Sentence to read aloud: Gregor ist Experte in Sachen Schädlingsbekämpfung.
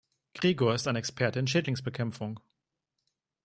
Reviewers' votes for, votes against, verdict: 1, 2, rejected